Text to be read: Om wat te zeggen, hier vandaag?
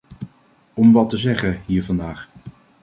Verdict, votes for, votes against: accepted, 2, 0